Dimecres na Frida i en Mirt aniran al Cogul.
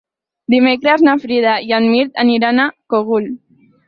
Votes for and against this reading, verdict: 4, 0, accepted